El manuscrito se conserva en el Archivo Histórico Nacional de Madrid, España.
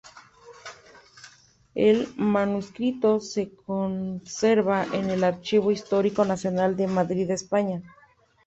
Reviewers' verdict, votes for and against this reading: rejected, 0, 2